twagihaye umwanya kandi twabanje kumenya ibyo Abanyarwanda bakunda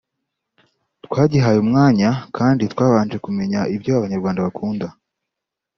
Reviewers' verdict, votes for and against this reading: accepted, 2, 0